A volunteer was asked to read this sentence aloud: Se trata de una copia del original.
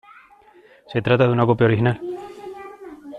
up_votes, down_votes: 1, 2